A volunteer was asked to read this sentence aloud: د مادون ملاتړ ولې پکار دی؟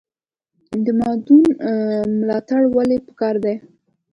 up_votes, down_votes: 2, 0